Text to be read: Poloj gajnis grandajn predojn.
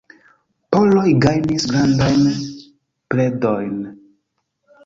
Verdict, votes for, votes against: rejected, 1, 2